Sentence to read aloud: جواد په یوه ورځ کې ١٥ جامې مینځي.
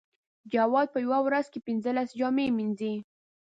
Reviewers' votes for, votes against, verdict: 0, 2, rejected